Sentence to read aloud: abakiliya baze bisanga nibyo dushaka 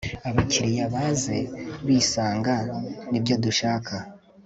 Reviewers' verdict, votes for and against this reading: accepted, 2, 0